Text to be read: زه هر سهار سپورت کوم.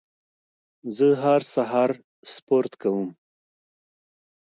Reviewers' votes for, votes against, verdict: 2, 0, accepted